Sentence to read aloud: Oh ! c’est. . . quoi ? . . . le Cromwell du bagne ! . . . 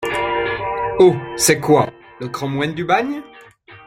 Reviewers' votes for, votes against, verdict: 2, 0, accepted